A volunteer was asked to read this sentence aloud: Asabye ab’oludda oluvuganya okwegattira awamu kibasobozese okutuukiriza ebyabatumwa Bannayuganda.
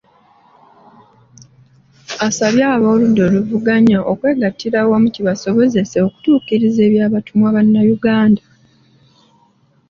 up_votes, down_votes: 2, 0